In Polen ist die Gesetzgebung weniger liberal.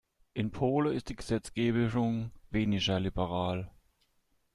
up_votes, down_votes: 0, 2